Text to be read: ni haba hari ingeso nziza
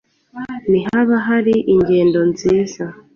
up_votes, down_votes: 0, 2